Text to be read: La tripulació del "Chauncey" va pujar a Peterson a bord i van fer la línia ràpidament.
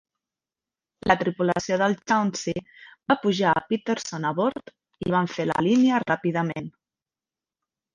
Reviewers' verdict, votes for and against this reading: rejected, 1, 2